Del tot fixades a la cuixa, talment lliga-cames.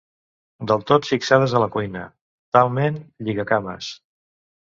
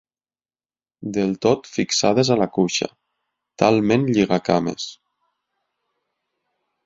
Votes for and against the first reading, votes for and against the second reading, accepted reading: 0, 2, 6, 0, second